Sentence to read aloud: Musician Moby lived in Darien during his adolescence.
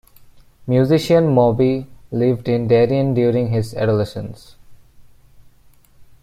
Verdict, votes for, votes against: accepted, 2, 0